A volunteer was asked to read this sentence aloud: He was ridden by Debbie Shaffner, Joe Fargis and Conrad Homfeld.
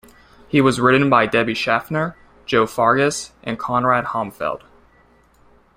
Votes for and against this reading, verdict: 3, 0, accepted